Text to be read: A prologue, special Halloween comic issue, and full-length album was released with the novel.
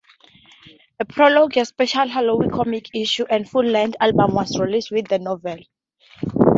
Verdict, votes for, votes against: rejected, 0, 2